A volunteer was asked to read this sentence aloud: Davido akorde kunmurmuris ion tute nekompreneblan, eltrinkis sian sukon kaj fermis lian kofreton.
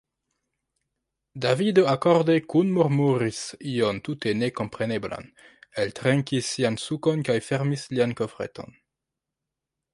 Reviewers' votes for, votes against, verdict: 0, 2, rejected